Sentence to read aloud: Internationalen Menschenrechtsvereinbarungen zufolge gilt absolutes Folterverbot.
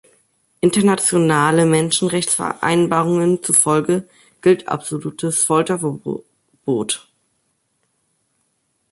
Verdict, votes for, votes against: rejected, 0, 2